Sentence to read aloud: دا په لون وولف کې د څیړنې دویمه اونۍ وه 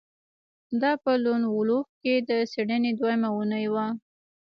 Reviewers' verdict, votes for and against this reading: accepted, 2, 1